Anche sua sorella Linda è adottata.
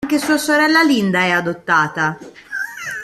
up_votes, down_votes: 1, 2